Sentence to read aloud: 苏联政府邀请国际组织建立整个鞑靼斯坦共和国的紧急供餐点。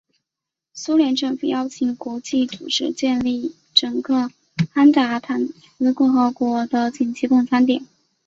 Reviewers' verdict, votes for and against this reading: rejected, 3, 4